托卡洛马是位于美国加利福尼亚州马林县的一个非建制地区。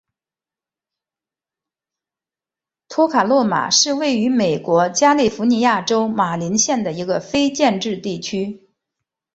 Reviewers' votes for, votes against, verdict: 1, 2, rejected